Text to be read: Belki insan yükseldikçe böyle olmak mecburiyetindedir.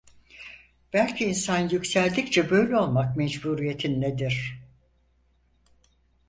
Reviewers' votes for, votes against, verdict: 4, 0, accepted